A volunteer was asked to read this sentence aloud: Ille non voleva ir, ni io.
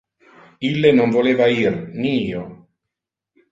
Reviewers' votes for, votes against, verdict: 2, 0, accepted